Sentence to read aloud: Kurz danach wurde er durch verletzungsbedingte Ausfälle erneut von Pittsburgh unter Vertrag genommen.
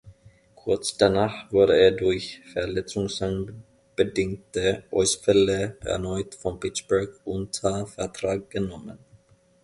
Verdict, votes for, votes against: rejected, 0, 2